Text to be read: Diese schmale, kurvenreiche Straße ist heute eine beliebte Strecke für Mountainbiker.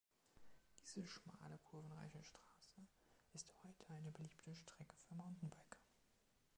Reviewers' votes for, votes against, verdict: 2, 0, accepted